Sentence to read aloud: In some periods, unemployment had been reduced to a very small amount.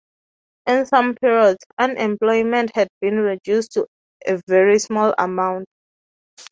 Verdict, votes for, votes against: rejected, 0, 2